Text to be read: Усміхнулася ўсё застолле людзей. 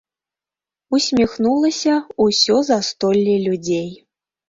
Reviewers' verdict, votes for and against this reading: rejected, 1, 2